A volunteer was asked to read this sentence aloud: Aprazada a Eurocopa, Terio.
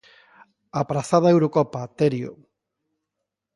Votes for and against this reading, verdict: 2, 0, accepted